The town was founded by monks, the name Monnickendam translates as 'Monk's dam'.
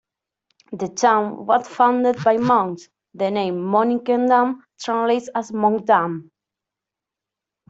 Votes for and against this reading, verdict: 0, 2, rejected